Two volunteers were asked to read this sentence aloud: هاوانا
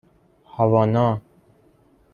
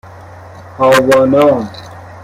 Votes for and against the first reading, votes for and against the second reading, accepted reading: 2, 0, 0, 2, first